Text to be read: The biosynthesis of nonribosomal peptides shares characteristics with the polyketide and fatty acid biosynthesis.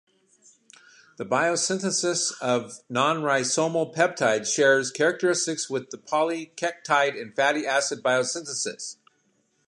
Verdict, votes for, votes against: rejected, 1, 2